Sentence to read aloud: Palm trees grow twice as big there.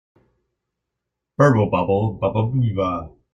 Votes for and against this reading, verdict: 0, 4, rejected